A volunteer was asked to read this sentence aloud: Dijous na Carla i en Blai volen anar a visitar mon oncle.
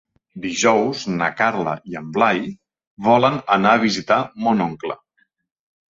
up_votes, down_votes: 7, 0